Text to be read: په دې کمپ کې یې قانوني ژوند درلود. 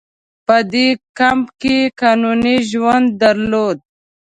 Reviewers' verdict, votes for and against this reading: rejected, 1, 2